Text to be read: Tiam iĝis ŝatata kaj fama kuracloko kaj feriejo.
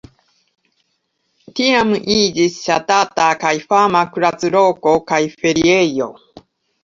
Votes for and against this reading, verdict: 2, 1, accepted